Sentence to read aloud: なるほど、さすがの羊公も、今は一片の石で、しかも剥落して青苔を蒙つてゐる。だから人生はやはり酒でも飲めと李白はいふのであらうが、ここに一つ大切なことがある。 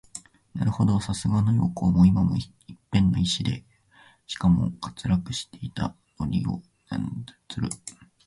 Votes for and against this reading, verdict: 0, 2, rejected